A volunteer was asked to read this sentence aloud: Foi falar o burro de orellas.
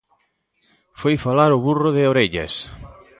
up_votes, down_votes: 1, 2